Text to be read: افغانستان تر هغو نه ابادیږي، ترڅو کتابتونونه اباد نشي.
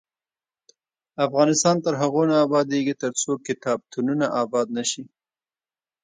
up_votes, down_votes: 1, 2